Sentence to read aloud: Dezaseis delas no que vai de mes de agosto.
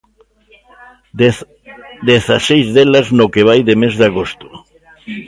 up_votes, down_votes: 0, 2